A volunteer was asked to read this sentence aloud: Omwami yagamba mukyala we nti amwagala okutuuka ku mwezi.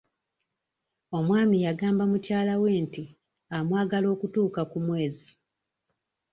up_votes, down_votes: 2, 0